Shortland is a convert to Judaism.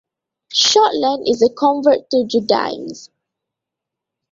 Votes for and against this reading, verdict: 1, 2, rejected